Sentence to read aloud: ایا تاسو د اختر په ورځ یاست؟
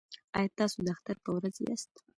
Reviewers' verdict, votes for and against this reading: accepted, 2, 0